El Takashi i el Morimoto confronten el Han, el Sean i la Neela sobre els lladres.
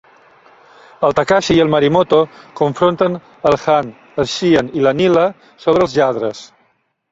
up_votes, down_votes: 0, 2